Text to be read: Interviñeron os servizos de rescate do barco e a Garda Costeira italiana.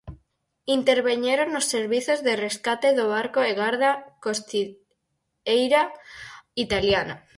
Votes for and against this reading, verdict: 0, 6, rejected